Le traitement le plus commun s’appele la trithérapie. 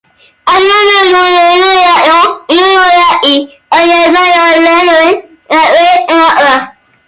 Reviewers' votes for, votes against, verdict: 0, 2, rejected